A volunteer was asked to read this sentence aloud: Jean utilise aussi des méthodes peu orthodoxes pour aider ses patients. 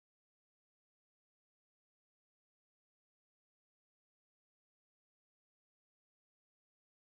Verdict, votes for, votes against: rejected, 0, 2